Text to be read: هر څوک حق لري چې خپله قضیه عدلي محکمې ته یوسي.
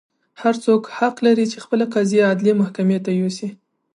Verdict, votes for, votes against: accepted, 2, 0